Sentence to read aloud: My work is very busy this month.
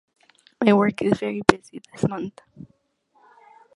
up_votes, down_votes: 1, 2